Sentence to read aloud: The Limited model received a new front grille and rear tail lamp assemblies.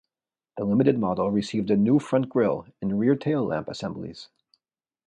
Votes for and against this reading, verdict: 2, 0, accepted